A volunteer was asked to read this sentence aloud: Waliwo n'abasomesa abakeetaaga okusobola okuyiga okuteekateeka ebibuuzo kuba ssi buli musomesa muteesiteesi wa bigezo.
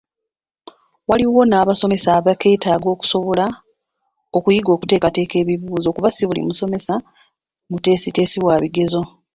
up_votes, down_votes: 0, 2